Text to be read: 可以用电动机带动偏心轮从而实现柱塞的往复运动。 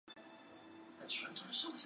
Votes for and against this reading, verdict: 0, 2, rejected